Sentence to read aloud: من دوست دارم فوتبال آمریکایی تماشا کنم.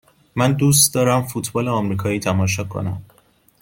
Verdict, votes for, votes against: accepted, 2, 0